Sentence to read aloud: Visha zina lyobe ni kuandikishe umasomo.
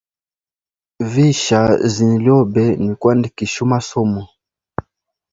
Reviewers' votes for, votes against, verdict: 2, 0, accepted